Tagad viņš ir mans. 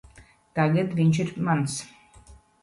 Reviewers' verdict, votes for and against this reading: accepted, 2, 0